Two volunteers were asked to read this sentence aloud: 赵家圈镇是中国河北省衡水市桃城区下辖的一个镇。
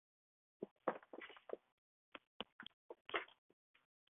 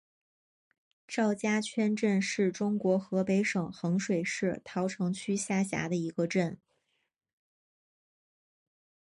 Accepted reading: second